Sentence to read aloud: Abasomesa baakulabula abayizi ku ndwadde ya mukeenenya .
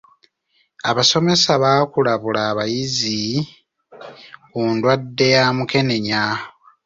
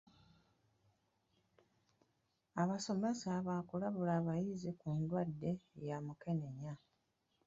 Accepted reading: first